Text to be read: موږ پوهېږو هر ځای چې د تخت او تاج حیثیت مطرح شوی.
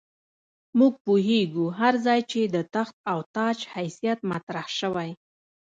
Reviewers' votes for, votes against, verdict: 2, 1, accepted